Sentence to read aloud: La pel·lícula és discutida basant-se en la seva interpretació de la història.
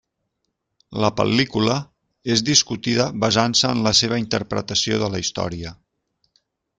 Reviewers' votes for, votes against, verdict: 3, 0, accepted